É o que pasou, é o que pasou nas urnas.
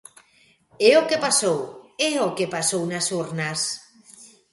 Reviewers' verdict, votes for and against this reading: accepted, 2, 0